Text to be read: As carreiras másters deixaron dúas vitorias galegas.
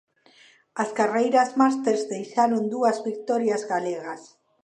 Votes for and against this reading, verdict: 2, 1, accepted